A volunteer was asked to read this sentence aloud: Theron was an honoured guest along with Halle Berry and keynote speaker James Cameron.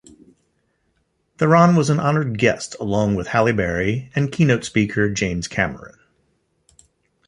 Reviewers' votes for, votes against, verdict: 2, 0, accepted